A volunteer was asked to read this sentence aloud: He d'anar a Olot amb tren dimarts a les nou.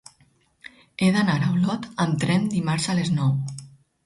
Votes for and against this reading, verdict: 4, 0, accepted